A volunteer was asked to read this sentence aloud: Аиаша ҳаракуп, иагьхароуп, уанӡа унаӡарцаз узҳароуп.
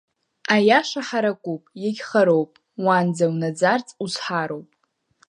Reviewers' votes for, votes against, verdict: 2, 0, accepted